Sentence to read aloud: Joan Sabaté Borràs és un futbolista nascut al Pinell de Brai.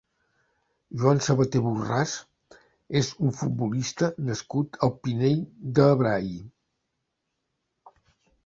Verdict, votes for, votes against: accepted, 2, 0